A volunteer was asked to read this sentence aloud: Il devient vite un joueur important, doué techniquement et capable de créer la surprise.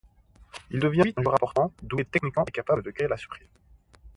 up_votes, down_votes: 2, 1